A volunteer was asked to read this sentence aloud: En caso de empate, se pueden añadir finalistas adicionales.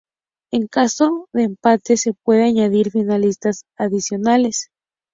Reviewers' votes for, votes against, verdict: 0, 2, rejected